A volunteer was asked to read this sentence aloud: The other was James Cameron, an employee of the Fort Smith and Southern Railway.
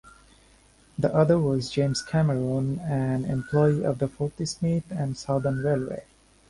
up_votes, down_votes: 2, 1